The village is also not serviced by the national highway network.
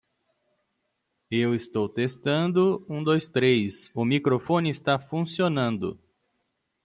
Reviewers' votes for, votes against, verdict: 0, 2, rejected